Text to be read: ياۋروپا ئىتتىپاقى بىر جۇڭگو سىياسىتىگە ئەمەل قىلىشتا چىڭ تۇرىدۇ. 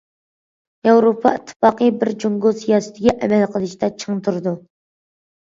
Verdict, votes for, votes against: accepted, 2, 0